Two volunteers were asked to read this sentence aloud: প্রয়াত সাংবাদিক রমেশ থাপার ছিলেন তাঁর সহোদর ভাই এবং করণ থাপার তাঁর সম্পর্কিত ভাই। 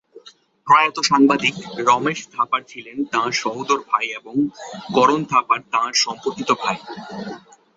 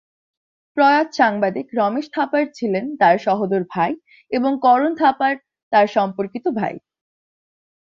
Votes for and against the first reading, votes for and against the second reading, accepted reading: 2, 0, 0, 2, first